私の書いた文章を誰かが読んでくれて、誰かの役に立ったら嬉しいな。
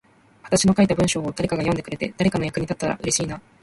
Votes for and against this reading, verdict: 2, 1, accepted